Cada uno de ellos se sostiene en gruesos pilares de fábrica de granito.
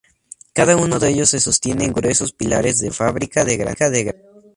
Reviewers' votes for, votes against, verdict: 0, 2, rejected